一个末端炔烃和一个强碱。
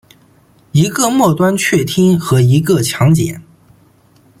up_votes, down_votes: 2, 1